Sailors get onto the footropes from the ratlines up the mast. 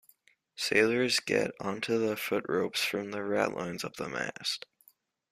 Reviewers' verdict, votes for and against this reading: accepted, 2, 0